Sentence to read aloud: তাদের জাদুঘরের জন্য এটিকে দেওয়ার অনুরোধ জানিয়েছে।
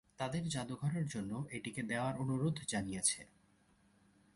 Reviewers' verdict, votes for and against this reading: accepted, 2, 0